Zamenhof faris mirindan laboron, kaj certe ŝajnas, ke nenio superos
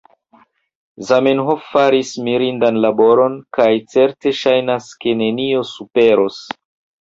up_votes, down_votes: 2, 0